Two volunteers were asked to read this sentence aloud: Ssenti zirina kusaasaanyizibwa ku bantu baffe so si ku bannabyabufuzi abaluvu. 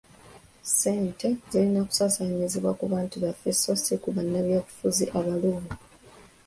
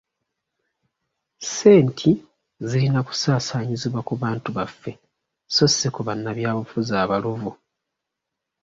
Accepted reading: second